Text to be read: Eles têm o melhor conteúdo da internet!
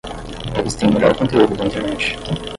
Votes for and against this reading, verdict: 5, 10, rejected